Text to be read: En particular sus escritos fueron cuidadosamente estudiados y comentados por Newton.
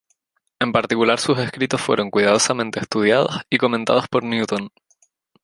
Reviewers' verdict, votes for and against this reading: rejected, 2, 2